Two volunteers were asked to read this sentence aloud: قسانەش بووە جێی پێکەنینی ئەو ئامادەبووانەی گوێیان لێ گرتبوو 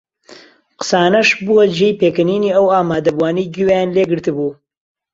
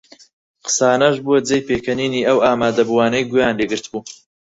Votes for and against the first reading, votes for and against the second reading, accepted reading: 2, 0, 0, 4, first